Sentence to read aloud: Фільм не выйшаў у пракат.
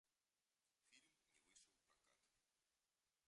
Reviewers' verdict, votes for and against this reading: rejected, 0, 2